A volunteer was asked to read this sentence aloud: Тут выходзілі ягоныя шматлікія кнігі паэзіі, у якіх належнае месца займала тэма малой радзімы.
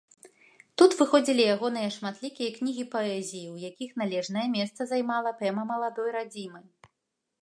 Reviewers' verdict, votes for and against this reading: rejected, 1, 2